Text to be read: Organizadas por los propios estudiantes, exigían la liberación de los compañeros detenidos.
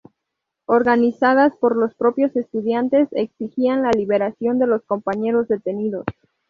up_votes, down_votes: 2, 0